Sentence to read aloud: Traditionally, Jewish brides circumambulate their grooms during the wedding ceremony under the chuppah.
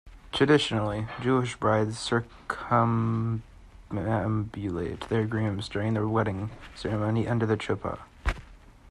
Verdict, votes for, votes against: rejected, 0, 2